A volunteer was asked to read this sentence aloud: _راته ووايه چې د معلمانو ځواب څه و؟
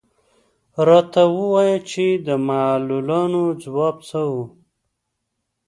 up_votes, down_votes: 1, 2